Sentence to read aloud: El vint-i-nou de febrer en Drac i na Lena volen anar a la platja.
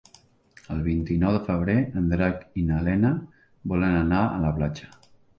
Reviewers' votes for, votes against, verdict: 4, 0, accepted